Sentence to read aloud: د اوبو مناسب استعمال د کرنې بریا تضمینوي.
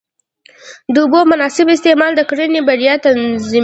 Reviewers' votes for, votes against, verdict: 1, 2, rejected